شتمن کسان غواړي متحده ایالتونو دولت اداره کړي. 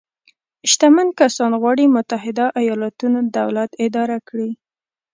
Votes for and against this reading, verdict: 2, 0, accepted